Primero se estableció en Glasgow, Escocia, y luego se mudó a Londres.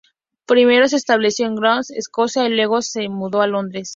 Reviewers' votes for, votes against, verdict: 2, 0, accepted